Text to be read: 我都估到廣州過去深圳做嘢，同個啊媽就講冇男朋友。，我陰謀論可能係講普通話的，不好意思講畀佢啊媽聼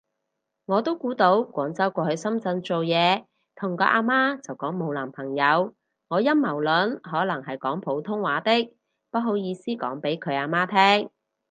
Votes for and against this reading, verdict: 4, 0, accepted